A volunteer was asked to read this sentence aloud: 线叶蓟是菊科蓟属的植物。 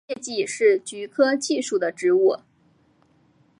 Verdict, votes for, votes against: accepted, 2, 0